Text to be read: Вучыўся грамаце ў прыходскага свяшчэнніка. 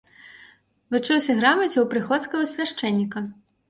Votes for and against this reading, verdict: 2, 0, accepted